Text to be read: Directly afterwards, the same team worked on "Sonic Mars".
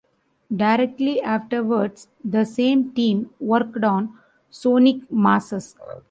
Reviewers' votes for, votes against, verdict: 0, 2, rejected